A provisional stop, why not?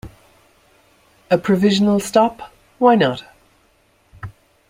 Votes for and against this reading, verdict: 2, 0, accepted